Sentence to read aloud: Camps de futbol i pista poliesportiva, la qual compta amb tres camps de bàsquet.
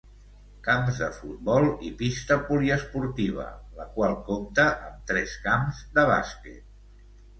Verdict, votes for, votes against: accepted, 2, 0